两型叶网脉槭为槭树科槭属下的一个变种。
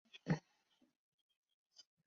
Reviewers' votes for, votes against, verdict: 0, 3, rejected